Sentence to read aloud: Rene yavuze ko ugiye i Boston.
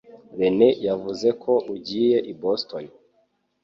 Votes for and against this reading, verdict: 2, 0, accepted